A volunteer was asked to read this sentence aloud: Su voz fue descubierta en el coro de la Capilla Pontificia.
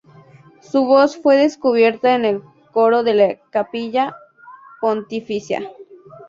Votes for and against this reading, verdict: 0, 2, rejected